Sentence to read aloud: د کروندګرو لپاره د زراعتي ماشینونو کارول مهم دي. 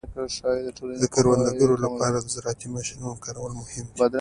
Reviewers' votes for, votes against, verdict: 1, 2, rejected